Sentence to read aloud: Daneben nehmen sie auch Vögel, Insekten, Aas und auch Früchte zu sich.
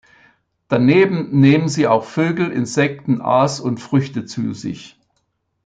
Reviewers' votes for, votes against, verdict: 1, 2, rejected